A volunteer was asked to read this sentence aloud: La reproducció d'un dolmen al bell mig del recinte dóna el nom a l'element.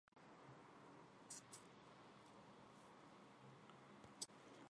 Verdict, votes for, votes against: rejected, 1, 2